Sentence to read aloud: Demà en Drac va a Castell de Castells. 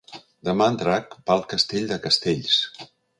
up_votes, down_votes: 1, 2